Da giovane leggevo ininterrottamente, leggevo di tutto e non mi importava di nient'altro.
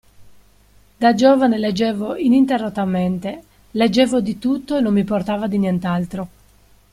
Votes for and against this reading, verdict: 2, 1, accepted